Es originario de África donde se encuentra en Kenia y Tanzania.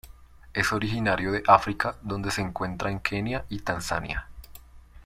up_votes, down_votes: 1, 2